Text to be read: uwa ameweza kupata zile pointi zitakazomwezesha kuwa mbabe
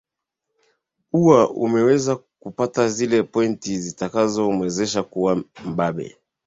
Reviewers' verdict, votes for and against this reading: accepted, 2, 0